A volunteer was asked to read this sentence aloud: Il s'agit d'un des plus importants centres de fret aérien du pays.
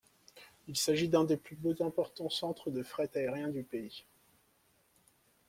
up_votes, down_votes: 2, 0